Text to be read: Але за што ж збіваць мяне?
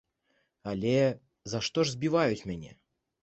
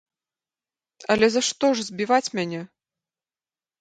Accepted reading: second